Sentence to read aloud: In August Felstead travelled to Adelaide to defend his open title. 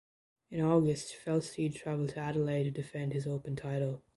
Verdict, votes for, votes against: accepted, 2, 0